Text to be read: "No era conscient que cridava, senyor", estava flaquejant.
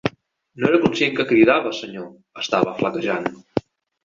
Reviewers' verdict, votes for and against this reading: rejected, 0, 2